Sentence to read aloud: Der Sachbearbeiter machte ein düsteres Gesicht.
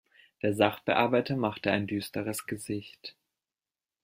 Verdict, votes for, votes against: accepted, 2, 0